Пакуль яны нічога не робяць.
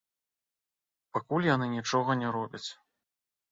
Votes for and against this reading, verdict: 1, 2, rejected